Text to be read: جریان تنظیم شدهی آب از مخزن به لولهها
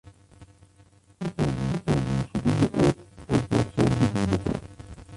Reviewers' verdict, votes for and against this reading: rejected, 0, 2